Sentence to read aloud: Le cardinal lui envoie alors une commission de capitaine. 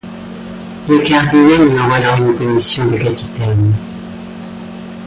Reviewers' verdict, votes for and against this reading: rejected, 1, 2